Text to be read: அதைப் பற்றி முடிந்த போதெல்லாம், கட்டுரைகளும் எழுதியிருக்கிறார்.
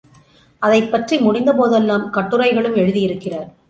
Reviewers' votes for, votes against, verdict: 2, 0, accepted